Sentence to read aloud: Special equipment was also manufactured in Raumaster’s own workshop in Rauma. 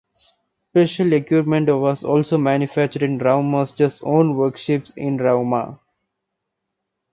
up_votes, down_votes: 0, 2